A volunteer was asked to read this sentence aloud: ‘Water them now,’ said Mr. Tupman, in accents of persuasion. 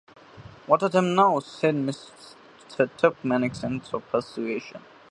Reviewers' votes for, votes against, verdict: 0, 2, rejected